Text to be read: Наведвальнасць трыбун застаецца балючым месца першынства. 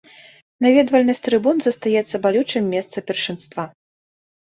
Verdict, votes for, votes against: accepted, 3, 0